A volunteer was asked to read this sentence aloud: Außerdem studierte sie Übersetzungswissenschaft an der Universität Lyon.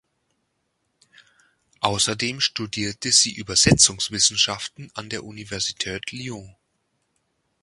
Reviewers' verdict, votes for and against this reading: rejected, 0, 2